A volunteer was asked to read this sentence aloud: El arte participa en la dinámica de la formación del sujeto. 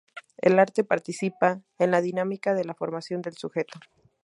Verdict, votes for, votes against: accepted, 2, 0